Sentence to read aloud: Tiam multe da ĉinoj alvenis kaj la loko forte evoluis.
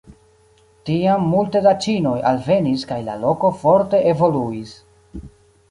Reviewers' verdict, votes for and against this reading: accepted, 2, 0